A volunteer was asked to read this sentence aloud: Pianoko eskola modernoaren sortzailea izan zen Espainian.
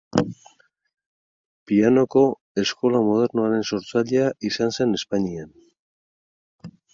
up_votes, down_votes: 2, 2